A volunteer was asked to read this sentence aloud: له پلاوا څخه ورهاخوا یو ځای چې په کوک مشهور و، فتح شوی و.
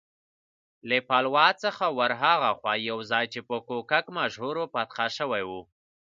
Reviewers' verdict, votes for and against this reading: accepted, 2, 0